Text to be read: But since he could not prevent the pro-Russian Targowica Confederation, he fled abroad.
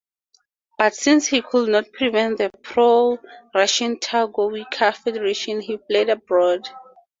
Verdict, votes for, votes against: rejected, 2, 4